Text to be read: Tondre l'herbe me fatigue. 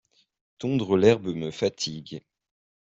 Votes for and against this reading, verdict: 2, 0, accepted